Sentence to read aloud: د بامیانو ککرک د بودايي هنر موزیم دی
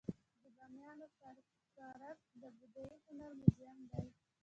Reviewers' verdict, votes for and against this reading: rejected, 1, 2